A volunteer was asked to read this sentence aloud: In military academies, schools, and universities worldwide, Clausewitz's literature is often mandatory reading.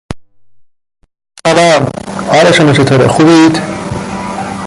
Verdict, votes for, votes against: rejected, 0, 2